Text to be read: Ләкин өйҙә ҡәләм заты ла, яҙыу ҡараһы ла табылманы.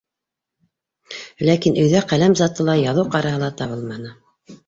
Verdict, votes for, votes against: accepted, 2, 1